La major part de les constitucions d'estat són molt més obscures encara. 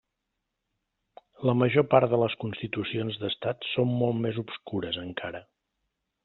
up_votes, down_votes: 2, 0